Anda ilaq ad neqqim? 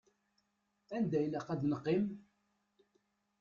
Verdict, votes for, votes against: rejected, 1, 2